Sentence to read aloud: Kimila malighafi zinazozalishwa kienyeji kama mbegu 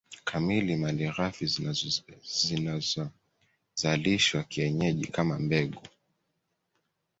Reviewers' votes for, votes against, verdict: 1, 2, rejected